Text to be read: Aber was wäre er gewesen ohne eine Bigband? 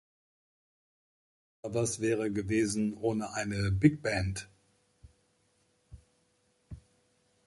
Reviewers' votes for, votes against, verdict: 1, 2, rejected